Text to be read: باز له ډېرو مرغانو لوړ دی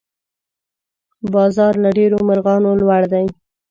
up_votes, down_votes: 1, 2